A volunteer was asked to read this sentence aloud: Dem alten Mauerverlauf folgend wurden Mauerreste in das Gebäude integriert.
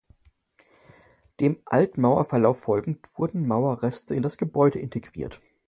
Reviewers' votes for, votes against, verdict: 1, 2, rejected